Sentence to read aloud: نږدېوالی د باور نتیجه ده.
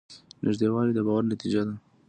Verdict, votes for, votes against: accepted, 2, 0